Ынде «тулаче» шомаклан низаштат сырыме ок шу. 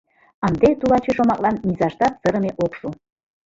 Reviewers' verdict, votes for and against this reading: accepted, 2, 1